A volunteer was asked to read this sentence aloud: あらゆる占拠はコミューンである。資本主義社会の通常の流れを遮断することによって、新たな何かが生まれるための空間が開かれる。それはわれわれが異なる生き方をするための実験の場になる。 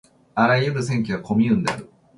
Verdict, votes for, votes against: rejected, 0, 2